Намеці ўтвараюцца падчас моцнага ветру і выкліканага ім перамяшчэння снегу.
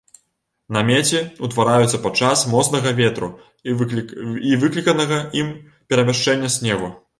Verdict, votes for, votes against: rejected, 0, 2